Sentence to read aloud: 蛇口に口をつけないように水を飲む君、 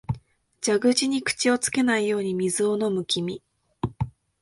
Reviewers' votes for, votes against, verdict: 2, 0, accepted